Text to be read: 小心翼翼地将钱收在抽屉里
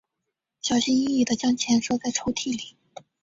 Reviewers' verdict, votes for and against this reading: accepted, 2, 0